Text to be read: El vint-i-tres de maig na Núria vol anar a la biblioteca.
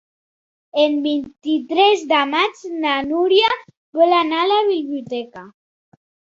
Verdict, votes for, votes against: accepted, 2, 0